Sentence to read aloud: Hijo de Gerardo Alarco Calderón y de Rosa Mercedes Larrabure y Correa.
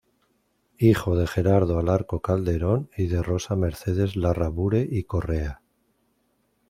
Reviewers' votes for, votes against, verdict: 2, 0, accepted